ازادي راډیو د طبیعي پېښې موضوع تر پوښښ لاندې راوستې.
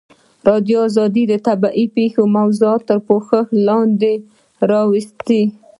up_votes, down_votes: 2, 1